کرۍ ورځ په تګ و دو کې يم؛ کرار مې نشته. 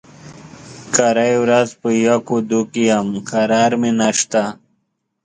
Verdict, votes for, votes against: rejected, 1, 2